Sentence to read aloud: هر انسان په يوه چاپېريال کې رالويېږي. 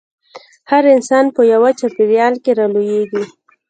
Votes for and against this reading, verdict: 2, 1, accepted